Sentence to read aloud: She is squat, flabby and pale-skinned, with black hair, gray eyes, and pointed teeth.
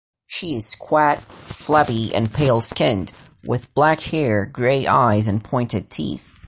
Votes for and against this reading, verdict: 0, 2, rejected